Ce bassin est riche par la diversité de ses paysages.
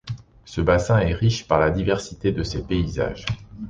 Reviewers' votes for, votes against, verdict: 2, 0, accepted